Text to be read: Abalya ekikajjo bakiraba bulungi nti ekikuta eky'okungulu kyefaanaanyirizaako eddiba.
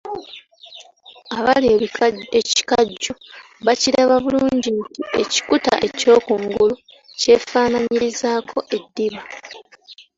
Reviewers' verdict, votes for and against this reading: rejected, 1, 2